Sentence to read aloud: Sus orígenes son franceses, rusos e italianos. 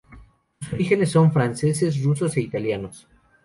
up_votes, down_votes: 0, 2